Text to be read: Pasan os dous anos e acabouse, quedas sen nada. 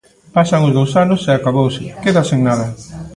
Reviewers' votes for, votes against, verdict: 2, 0, accepted